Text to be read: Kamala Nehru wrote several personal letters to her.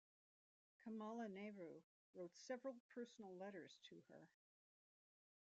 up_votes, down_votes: 1, 2